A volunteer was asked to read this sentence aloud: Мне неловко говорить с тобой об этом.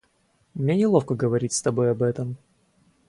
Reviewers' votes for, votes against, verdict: 2, 0, accepted